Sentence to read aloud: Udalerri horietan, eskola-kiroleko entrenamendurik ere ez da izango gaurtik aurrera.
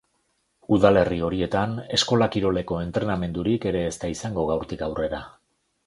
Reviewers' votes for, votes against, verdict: 2, 0, accepted